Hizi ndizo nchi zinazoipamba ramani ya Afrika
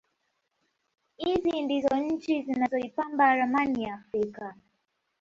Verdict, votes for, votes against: rejected, 1, 2